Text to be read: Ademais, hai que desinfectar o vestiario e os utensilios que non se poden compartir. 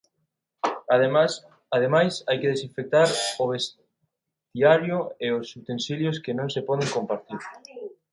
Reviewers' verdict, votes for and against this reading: rejected, 0, 2